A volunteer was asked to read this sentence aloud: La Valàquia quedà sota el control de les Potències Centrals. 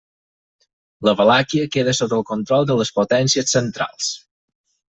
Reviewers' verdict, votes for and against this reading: rejected, 0, 4